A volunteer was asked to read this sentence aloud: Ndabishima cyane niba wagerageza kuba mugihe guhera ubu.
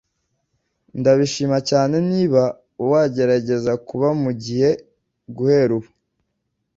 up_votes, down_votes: 2, 0